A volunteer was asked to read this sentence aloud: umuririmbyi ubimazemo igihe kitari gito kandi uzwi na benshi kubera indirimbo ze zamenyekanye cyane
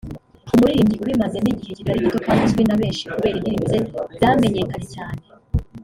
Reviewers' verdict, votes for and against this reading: rejected, 0, 2